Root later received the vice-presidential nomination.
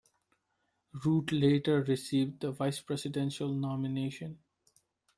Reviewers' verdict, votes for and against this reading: accepted, 2, 0